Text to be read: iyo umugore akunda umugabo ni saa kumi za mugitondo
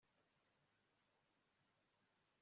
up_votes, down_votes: 0, 2